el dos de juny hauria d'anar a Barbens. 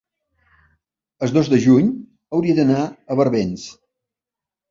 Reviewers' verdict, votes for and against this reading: accepted, 3, 1